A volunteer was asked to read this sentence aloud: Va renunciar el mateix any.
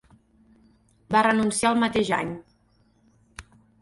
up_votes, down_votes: 4, 0